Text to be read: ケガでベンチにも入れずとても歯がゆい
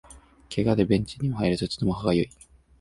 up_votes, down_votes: 2, 0